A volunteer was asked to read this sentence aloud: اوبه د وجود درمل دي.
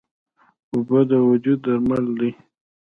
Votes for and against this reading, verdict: 1, 2, rejected